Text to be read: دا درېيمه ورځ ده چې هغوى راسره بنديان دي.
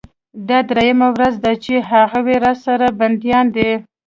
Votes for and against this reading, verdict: 2, 0, accepted